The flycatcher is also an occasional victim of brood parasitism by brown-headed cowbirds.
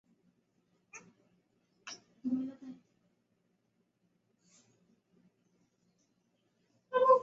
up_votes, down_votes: 0, 2